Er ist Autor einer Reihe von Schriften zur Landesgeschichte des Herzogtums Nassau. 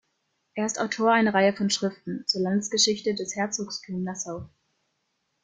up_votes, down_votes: 0, 2